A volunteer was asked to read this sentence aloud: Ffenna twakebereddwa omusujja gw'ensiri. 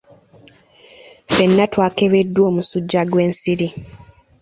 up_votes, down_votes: 1, 2